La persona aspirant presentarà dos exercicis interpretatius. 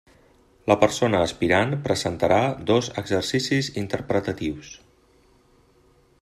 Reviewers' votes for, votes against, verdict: 3, 1, accepted